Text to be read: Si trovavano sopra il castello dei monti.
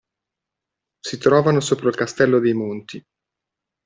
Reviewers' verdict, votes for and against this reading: rejected, 0, 2